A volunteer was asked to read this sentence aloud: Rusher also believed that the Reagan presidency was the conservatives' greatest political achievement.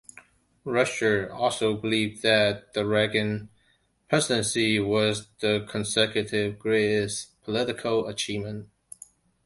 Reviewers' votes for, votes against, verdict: 1, 2, rejected